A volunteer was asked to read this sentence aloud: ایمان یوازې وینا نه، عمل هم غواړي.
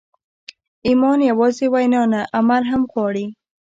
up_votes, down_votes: 2, 0